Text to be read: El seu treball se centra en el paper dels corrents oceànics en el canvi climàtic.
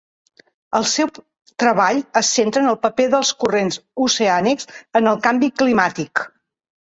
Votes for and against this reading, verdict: 2, 3, rejected